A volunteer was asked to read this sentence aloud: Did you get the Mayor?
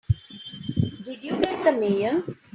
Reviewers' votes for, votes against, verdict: 2, 1, accepted